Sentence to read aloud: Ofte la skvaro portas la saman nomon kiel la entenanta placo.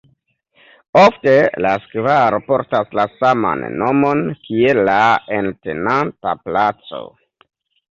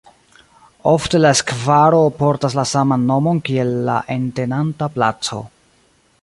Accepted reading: second